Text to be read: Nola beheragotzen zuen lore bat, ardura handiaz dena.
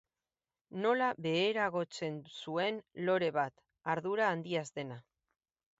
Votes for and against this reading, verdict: 6, 0, accepted